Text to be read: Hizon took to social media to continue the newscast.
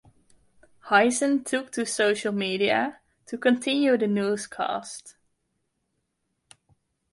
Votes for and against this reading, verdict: 2, 0, accepted